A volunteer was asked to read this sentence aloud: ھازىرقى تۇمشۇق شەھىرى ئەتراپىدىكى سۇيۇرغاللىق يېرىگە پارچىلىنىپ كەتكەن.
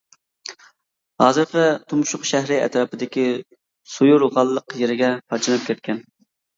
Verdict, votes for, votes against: rejected, 1, 2